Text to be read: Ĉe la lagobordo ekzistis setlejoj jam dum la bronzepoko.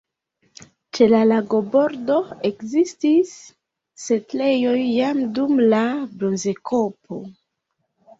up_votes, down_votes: 1, 2